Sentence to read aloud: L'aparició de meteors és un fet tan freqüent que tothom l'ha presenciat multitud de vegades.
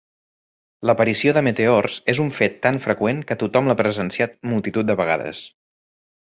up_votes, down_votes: 2, 0